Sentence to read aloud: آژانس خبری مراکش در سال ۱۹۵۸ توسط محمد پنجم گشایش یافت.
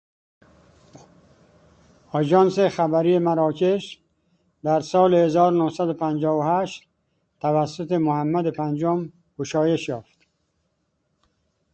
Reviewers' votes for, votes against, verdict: 0, 2, rejected